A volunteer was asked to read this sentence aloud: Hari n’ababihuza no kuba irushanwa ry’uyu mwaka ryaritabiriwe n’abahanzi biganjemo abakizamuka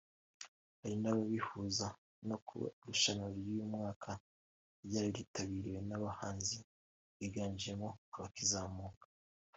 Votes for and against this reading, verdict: 2, 1, accepted